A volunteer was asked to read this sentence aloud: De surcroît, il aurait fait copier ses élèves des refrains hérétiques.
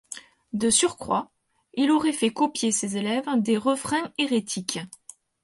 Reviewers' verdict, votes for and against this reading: accepted, 4, 0